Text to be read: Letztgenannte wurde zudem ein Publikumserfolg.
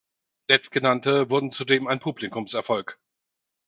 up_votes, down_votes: 2, 4